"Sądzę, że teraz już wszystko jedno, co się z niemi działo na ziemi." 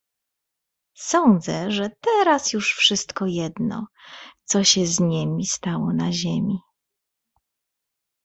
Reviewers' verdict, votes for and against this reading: rejected, 2, 3